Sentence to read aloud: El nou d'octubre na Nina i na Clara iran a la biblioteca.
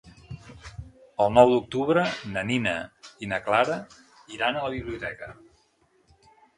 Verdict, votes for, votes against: accepted, 2, 0